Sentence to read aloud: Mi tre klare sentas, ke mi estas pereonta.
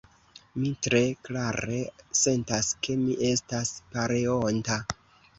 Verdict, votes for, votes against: rejected, 1, 2